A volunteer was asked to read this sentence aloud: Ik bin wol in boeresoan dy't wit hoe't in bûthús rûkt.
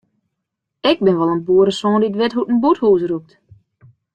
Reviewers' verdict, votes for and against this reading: accepted, 2, 0